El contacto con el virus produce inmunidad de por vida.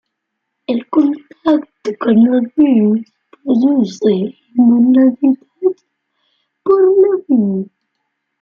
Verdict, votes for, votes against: rejected, 1, 2